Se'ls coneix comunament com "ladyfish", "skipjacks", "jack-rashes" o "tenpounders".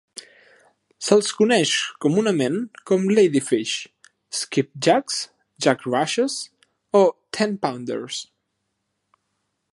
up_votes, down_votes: 2, 0